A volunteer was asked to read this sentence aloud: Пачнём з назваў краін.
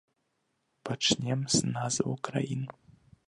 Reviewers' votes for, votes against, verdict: 1, 2, rejected